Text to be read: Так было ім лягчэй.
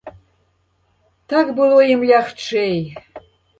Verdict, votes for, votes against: accepted, 2, 0